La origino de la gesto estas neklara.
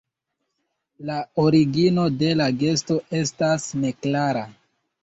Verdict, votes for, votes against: accepted, 2, 1